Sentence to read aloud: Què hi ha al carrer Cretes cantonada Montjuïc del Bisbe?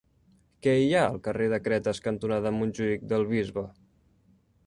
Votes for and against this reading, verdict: 0, 2, rejected